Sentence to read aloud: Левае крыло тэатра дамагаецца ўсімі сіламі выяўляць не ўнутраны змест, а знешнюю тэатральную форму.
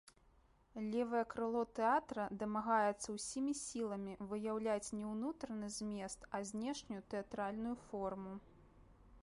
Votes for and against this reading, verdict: 2, 0, accepted